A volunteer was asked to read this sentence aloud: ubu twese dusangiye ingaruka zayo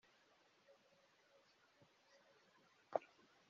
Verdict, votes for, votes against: rejected, 1, 2